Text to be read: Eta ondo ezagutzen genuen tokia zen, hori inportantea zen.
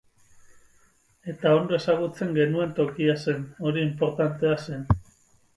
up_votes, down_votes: 6, 0